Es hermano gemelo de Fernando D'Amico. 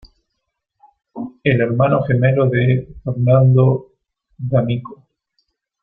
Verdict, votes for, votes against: accepted, 2, 1